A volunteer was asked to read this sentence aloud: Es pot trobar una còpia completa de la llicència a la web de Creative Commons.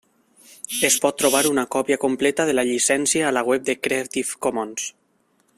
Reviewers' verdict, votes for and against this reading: accepted, 3, 0